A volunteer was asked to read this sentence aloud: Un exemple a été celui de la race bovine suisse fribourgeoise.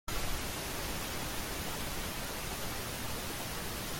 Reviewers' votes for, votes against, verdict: 0, 2, rejected